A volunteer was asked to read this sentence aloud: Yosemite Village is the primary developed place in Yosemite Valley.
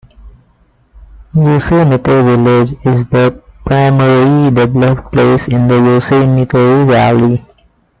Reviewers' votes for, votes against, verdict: 0, 2, rejected